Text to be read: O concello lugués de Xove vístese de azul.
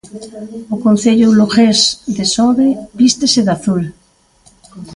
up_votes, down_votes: 2, 1